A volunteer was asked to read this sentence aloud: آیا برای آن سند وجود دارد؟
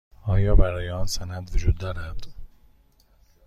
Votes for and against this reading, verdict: 2, 0, accepted